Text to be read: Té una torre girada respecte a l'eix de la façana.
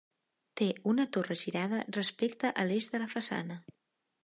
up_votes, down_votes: 3, 0